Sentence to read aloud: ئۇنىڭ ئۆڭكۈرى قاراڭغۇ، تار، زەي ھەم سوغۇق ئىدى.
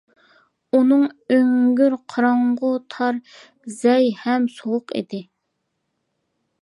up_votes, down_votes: 0, 2